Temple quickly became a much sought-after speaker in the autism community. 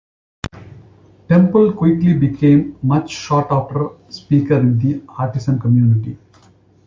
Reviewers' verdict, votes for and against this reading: rejected, 0, 2